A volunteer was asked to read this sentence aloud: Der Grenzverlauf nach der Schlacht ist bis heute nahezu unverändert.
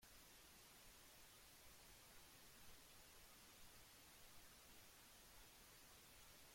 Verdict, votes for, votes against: rejected, 0, 2